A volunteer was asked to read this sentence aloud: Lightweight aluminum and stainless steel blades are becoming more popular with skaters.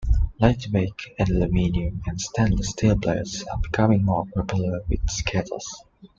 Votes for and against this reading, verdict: 0, 2, rejected